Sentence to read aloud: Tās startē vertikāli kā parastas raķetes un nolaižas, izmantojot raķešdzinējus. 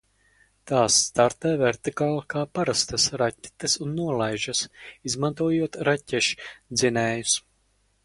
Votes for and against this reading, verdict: 4, 2, accepted